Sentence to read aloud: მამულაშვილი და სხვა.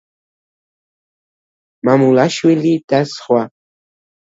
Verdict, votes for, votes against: accepted, 2, 0